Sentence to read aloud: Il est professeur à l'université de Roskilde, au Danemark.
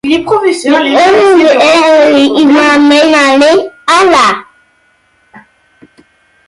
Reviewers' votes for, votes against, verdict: 0, 2, rejected